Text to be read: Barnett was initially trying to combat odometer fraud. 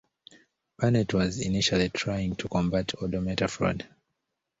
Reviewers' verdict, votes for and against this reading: accepted, 2, 0